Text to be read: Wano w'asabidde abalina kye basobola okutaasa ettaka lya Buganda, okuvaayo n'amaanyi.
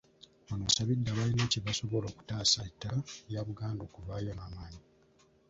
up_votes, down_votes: 1, 2